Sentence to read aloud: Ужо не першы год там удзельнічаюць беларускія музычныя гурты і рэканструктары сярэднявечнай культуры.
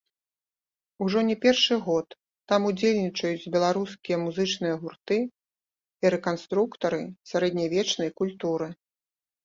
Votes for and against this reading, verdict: 0, 3, rejected